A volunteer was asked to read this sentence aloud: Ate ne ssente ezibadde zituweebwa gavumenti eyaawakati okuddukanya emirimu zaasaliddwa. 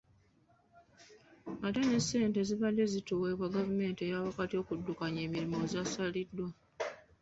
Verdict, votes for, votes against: rejected, 1, 2